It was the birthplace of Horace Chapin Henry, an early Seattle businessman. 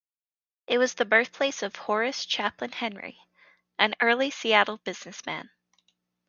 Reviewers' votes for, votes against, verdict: 0, 2, rejected